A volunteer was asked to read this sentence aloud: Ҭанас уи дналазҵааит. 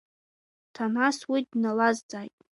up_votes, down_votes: 1, 2